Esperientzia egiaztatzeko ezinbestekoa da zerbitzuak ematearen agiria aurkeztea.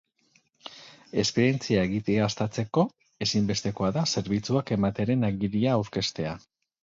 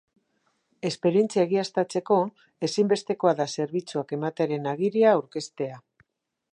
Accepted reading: second